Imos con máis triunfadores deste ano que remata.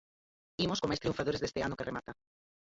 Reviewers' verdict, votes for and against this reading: rejected, 0, 4